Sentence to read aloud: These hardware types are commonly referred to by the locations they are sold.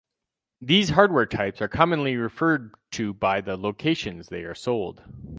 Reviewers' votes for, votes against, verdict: 4, 0, accepted